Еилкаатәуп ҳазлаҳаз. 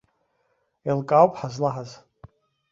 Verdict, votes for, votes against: rejected, 0, 2